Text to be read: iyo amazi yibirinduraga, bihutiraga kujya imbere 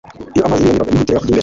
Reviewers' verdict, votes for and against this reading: rejected, 1, 2